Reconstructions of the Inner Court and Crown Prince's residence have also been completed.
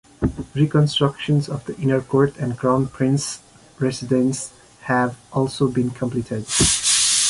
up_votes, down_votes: 3, 2